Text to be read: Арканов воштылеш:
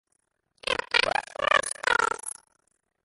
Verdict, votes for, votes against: rejected, 0, 2